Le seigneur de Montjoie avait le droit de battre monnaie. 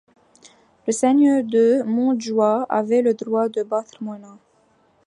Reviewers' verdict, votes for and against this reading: accepted, 2, 1